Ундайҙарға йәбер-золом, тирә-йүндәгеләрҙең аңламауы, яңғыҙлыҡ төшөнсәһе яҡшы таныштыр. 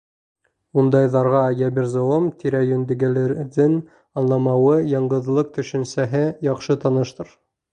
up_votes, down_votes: 2, 0